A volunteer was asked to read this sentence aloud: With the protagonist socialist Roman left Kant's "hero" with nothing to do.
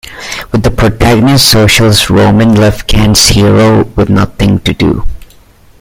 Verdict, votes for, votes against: rejected, 1, 2